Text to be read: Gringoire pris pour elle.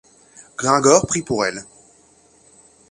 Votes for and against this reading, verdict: 0, 2, rejected